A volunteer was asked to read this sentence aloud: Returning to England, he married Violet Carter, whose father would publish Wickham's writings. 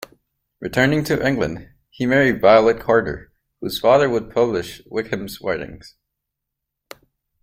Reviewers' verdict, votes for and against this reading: accepted, 2, 0